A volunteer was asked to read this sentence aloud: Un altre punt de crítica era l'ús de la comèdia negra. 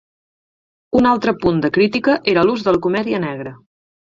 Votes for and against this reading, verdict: 2, 4, rejected